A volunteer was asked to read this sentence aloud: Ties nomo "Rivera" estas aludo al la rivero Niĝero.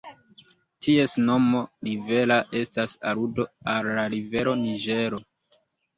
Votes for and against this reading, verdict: 2, 0, accepted